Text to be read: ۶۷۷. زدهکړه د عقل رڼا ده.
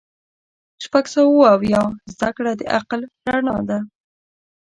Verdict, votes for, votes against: rejected, 0, 2